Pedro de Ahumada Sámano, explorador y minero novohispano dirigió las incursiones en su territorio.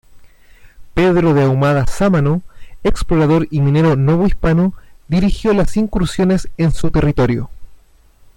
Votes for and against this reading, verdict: 2, 1, accepted